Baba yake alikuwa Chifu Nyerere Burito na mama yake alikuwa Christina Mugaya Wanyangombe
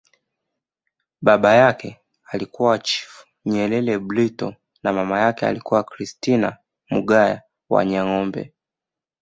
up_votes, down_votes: 2, 0